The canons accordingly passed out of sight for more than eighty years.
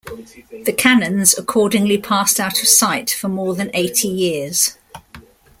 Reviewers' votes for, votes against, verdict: 2, 1, accepted